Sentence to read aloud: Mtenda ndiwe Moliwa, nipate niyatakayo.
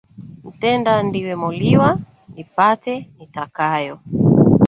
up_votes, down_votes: 1, 2